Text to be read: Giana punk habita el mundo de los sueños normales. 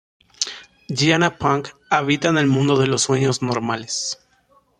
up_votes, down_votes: 1, 2